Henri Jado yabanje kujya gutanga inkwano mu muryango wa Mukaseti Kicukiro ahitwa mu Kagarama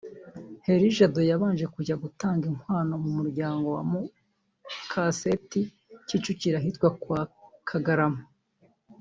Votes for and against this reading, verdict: 2, 4, rejected